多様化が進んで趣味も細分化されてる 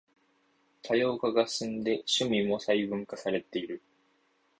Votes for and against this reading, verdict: 2, 0, accepted